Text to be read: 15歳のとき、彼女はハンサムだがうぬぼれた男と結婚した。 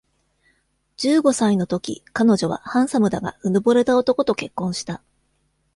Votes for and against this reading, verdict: 0, 2, rejected